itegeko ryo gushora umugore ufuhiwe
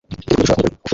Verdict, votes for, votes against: rejected, 0, 2